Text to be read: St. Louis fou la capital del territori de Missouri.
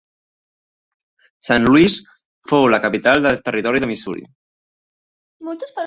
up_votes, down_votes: 1, 2